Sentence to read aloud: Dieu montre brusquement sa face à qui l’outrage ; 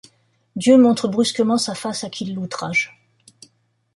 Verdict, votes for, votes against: rejected, 1, 2